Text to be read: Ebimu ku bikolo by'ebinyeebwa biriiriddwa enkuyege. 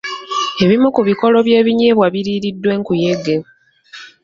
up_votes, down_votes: 2, 1